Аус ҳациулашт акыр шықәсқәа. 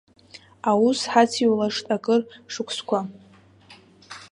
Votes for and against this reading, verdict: 0, 2, rejected